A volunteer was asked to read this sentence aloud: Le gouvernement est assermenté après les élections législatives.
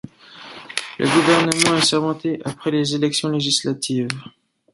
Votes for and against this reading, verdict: 0, 2, rejected